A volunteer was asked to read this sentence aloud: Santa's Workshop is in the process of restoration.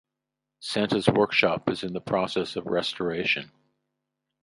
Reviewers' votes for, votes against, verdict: 2, 0, accepted